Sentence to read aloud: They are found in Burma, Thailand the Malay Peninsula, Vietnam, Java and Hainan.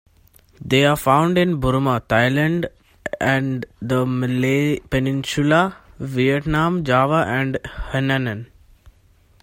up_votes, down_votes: 0, 2